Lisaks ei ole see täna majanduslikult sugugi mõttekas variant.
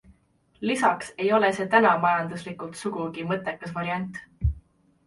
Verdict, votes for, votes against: accepted, 2, 0